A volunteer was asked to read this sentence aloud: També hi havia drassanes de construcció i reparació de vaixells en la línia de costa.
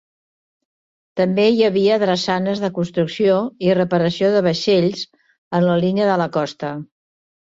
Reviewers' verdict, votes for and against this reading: rejected, 0, 2